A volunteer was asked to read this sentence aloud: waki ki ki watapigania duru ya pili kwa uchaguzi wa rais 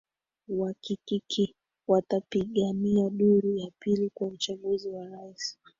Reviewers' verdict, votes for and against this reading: rejected, 2, 3